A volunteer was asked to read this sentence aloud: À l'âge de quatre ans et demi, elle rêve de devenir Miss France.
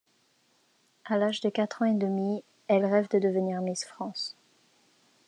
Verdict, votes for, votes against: accepted, 2, 0